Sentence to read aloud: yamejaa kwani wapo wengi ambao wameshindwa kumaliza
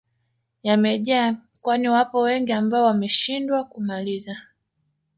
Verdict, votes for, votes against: rejected, 0, 2